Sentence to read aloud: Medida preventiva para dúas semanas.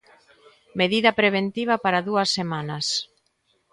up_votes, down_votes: 2, 0